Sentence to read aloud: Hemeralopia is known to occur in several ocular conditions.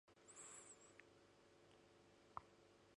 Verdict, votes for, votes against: rejected, 0, 4